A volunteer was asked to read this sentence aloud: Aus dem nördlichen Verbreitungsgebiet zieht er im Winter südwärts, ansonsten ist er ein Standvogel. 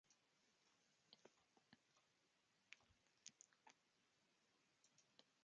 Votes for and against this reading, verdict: 0, 2, rejected